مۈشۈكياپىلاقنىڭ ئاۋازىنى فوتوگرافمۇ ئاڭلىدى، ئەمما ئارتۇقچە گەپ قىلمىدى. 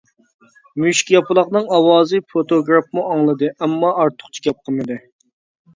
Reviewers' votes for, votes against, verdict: 0, 2, rejected